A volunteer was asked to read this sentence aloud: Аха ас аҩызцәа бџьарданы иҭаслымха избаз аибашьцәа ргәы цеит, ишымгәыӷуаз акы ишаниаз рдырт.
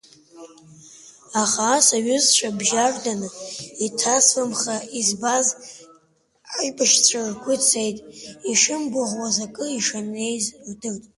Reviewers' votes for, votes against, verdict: 1, 2, rejected